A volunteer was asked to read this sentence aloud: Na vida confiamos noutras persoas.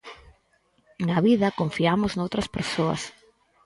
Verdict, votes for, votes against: accepted, 4, 0